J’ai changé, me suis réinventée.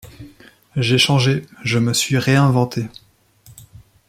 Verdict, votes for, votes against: rejected, 1, 2